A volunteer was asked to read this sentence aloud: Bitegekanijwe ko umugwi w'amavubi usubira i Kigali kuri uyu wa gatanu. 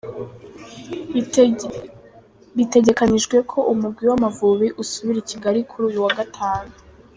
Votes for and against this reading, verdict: 0, 3, rejected